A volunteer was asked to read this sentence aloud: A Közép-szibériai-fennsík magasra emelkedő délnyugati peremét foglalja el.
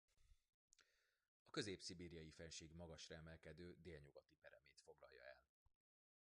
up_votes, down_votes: 2, 0